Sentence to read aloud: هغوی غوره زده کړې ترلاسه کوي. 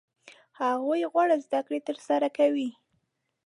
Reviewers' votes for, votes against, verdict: 0, 2, rejected